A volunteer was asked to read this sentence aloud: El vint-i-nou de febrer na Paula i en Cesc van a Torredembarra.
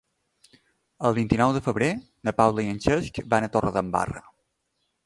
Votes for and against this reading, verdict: 2, 1, accepted